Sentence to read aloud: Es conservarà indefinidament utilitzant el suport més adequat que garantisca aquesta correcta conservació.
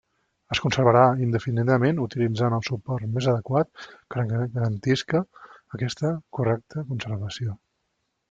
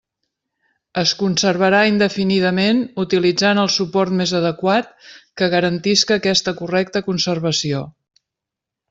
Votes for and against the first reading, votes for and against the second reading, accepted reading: 0, 2, 3, 0, second